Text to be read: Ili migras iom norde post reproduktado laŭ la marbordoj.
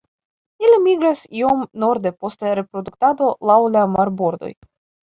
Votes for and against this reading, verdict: 1, 2, rejected